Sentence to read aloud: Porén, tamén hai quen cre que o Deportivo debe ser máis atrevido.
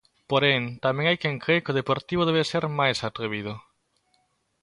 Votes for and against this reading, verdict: 2, 0, accepted